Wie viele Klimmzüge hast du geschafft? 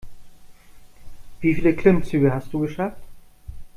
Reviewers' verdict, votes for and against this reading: accepted, 2, 1